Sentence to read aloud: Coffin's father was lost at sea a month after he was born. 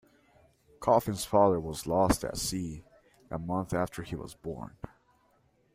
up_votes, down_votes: 2, 0